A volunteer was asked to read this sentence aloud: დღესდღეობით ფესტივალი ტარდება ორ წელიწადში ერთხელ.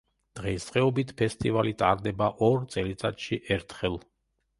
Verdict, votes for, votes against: accepted, 2, 1